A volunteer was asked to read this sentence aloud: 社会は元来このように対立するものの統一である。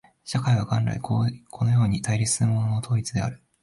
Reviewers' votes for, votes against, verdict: 0, 2, rejected